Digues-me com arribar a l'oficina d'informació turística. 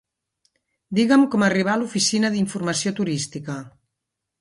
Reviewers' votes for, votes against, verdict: 0, 2, rejected